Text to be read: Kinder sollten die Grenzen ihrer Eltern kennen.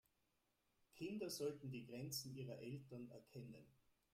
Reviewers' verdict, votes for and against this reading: rejected, 0, 2